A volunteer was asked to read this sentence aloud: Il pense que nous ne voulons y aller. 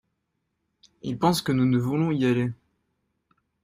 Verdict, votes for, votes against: accepted, 2, 0